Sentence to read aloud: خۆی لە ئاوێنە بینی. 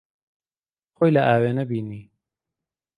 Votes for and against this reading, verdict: 2, 0, accepted